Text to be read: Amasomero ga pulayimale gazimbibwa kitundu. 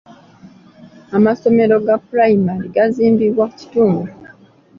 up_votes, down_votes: 0, 2